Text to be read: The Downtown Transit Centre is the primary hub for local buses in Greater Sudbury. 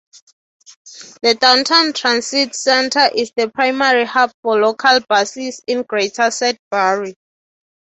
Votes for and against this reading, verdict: 6, 0, accepted